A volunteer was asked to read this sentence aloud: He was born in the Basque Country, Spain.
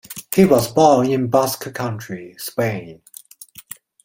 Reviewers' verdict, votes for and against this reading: rejected, 0, 2